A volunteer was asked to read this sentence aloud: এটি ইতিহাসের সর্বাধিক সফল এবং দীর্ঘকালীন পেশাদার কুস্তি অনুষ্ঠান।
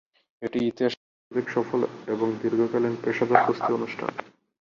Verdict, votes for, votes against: rejected, 34, 54